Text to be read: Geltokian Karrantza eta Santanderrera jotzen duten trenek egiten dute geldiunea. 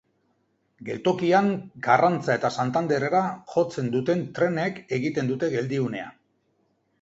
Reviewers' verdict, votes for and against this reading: accepted, 2, 0